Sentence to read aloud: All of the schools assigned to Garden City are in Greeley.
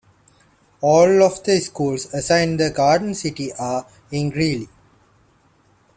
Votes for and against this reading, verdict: 2, 1, accepted